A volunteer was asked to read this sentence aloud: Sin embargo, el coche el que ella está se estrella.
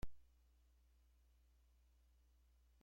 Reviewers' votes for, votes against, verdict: 0, 2, rejected